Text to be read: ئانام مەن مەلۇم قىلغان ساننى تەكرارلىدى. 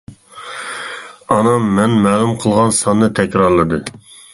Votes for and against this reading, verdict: 2, 0, accepted